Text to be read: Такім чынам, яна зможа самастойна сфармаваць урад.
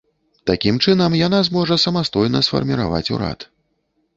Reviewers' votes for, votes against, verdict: 2, 1, accepted